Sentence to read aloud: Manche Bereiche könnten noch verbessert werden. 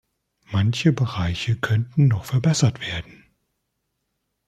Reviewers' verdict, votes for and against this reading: accepted, 2, 0